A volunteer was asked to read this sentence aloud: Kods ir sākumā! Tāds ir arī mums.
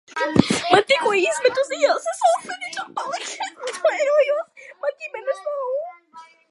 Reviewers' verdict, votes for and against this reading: rejected, 0, 2